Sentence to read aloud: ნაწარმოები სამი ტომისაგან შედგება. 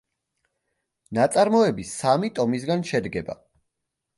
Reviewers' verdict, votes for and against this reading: rejected, 0, 2